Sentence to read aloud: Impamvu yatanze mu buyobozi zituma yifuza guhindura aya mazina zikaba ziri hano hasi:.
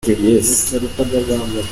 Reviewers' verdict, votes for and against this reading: rejected, 1, 2